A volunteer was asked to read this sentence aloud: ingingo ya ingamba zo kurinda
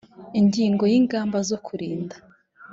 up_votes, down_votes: 3, 0